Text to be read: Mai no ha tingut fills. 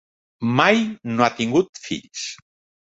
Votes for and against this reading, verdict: 3, 0, accepted